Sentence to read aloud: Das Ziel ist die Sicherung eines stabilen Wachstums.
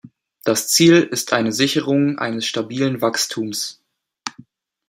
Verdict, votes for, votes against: rejected, 1, 2